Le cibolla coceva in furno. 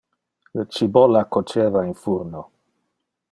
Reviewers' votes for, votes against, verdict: 2, 0, accepted